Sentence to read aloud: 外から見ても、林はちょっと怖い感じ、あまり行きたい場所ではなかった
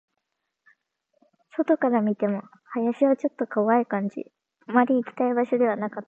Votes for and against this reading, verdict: 2, 0, accepted